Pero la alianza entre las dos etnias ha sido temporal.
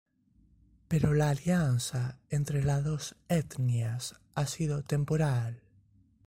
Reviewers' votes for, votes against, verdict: 2, 0, accepted